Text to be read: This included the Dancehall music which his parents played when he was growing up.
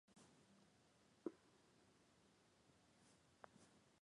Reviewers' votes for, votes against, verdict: 0, 4, rejected